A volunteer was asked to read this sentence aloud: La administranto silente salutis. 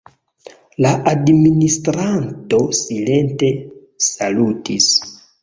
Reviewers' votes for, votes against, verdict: 2, 0, accepted